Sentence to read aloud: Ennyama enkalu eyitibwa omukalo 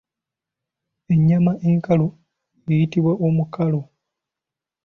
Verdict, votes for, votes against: accepted, 3, 0